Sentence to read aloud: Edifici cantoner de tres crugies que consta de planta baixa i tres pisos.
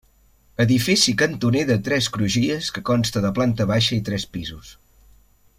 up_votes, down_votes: 3, 0